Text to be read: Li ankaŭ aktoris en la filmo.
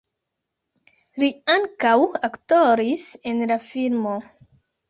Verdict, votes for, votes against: accepted, 2, 0